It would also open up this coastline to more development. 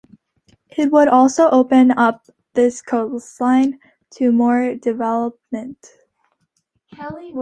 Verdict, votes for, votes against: accepted, 2, 0